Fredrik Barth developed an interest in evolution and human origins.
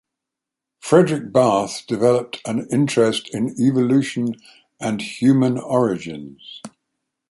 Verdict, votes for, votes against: accepted, 4, 0